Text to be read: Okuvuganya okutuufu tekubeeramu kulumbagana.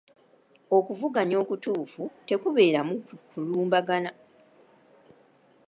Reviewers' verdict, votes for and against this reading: accepted, 2, 0